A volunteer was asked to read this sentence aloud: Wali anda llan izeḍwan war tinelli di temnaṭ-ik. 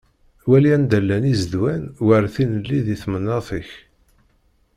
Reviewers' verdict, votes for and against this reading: rejected, 1, 2